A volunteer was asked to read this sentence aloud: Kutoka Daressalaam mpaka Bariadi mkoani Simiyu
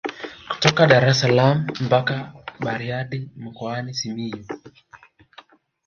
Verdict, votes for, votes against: rejected, 1, 2